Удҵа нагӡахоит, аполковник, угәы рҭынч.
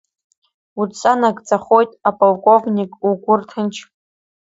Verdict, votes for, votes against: accepted, 2, 0